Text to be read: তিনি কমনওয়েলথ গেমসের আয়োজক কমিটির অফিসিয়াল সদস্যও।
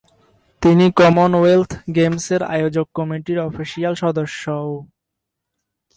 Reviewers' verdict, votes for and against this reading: rejected, 0, 2